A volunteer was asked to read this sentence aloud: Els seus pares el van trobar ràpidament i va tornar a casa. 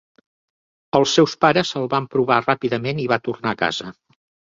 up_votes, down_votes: 2, 1